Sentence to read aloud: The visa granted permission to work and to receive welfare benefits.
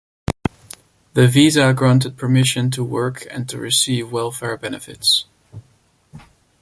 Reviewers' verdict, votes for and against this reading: accepted, 2, 0